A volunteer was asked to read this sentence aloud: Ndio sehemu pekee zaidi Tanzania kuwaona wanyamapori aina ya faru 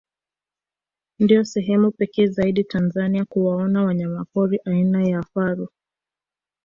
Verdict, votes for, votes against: accepted, 2, 0